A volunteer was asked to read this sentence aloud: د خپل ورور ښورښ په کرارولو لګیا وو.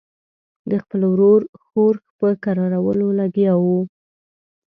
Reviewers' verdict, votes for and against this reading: rejected, 1, 2